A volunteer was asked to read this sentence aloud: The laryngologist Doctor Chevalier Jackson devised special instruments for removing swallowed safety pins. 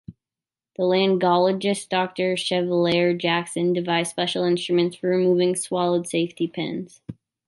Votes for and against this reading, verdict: 1, 2, rejected